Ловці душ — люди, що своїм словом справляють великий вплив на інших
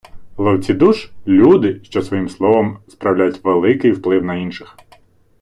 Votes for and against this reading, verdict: 1, 2, rejected